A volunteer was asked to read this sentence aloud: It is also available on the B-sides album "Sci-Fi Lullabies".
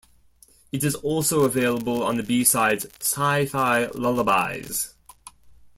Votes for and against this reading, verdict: 0, 2, rejected